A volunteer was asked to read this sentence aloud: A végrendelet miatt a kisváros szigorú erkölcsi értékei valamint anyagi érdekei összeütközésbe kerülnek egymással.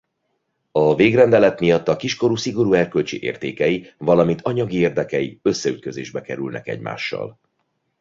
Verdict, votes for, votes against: rejected, 1, 2